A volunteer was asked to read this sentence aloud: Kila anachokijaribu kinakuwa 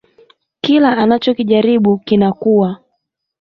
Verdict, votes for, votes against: rejected, 1, 2